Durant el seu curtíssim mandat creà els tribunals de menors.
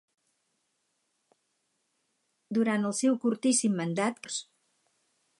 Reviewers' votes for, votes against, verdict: 0, 4, rejected